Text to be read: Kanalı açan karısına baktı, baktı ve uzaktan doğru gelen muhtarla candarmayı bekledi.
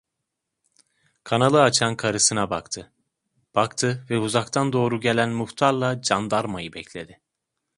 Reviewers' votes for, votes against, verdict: 2, 0, accepted